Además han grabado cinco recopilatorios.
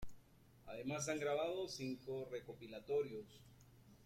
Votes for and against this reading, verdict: 2, 0, accepted